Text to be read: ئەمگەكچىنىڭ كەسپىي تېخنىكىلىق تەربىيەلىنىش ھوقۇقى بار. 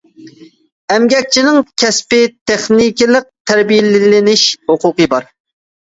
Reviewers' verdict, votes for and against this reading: rejected, 0, 2